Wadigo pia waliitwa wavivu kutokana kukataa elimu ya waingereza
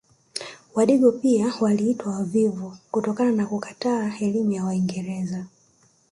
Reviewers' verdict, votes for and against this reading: rejected, 1, 2